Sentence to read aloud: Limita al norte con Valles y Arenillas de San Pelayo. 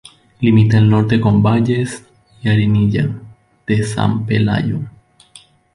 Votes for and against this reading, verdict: 0, 2, rejected